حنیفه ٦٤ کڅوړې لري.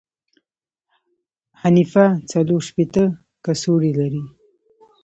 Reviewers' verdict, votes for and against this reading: rejected, 0, 2